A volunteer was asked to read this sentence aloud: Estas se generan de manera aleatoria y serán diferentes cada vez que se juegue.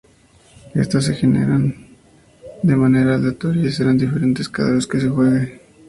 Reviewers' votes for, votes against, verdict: 2, 0, accepted